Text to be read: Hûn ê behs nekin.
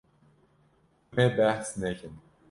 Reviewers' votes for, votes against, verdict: 1, 2, rejected